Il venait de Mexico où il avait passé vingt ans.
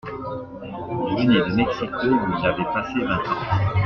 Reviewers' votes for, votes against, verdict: 2, 0, accepted